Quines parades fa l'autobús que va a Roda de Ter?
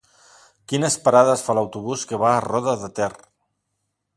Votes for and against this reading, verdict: 2, 1, accepted